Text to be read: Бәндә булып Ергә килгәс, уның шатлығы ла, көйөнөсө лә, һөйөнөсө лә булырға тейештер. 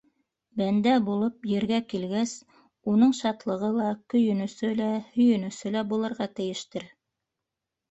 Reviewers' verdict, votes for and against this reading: rejected, 1, 2